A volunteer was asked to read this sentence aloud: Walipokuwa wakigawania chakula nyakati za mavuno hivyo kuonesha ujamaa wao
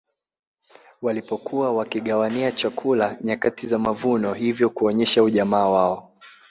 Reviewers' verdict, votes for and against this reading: accepted, 2, 1